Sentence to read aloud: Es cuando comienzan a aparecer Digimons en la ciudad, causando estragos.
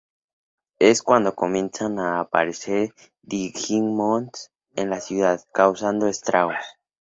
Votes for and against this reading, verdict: 2, 0, accepted